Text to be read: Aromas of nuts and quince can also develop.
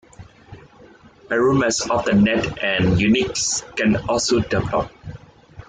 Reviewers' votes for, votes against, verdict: 0, 2, rejected